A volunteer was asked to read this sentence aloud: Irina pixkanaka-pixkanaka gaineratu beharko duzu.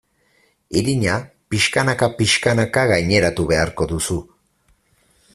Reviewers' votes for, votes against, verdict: 4, 0, accepted